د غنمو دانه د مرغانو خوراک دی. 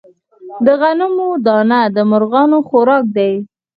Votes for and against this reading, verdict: 4, 0, accepted